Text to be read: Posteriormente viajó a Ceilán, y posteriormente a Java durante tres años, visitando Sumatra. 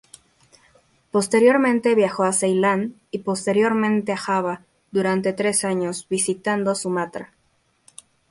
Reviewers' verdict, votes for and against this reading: rejected, 0, 2